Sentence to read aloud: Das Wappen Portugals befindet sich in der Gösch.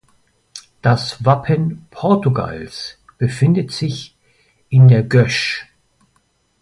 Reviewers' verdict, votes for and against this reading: accepted, 2, 0